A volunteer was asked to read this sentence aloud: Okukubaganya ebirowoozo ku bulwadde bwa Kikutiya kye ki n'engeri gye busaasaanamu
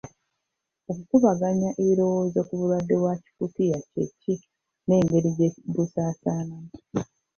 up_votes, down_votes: 1, 2